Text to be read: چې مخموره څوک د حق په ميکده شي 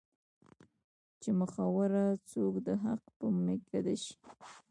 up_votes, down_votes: 0, 2